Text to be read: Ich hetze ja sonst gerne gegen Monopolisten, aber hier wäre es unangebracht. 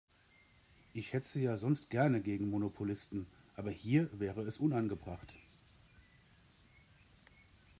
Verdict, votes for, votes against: accepted, 2, 0